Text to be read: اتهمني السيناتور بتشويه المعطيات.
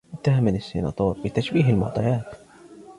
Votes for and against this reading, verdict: 2, 1, accepted